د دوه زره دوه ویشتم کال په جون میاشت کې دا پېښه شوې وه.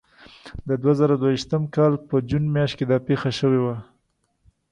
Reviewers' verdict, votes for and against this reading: accepted, 2, 0